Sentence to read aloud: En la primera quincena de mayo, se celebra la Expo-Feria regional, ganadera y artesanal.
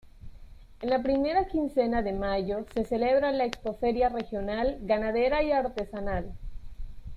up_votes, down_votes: 2, 0